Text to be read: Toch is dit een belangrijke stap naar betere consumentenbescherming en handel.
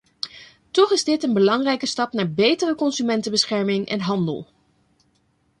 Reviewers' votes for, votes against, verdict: 2, 0, accepted